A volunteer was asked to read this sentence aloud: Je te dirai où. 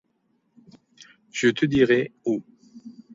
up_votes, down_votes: 2, 0